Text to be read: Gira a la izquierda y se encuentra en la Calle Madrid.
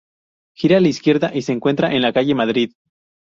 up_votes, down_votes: 2, 0